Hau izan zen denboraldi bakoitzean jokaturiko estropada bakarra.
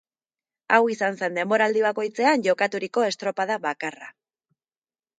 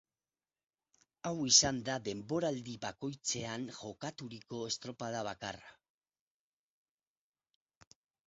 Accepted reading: first